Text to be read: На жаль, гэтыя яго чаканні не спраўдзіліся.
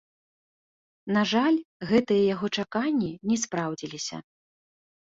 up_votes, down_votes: 2, 0